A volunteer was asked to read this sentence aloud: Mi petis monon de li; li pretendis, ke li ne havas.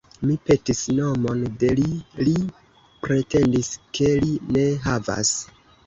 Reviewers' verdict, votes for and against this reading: rejected, 2, 3